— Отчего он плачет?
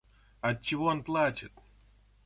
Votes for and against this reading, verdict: 2, 0, accepted